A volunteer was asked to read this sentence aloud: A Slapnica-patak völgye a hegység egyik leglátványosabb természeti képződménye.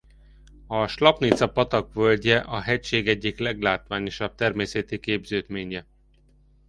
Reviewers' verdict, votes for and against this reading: rejected, 0, 2